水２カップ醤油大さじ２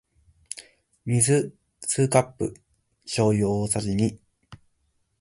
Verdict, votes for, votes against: rejected, 0, 2